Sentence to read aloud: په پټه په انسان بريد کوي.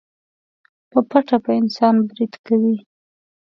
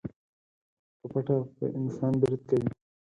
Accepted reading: first